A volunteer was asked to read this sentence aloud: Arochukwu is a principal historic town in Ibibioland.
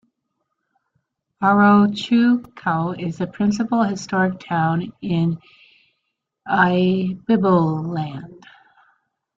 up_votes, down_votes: 0, 2